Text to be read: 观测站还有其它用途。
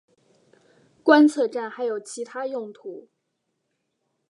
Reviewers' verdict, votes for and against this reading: accepted, 2, 0